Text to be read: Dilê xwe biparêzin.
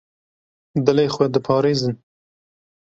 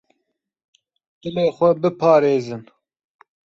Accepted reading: second